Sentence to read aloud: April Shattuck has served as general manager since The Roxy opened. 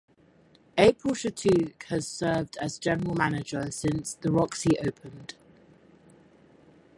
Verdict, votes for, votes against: accepted, 4, 0